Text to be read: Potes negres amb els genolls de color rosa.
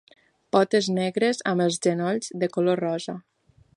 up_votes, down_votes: 2, 0